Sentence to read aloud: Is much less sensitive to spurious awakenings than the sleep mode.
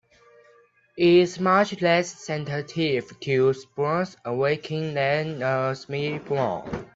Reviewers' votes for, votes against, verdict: 1, 2, rejected